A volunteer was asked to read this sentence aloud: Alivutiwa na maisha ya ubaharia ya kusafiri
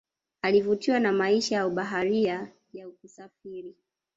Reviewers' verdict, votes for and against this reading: rejected, 0, 2